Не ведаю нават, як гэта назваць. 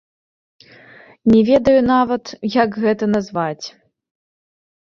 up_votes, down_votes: 2, 0